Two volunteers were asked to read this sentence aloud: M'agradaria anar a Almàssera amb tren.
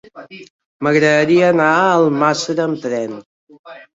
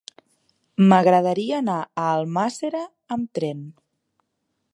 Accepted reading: second